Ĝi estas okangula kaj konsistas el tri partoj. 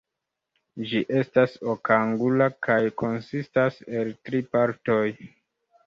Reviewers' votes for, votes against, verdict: 2, 0, accepted